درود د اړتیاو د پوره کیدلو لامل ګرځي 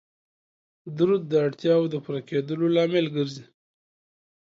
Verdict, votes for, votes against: accepted, 2, 0